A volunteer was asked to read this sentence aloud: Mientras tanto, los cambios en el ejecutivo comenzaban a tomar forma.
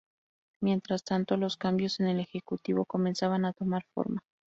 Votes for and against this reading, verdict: 2, 0, accepted